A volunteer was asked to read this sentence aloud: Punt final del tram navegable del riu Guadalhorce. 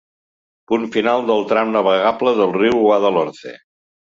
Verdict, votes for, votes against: accepted, 2, 0